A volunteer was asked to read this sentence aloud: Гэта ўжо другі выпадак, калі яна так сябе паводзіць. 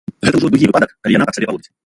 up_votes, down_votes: 0, 2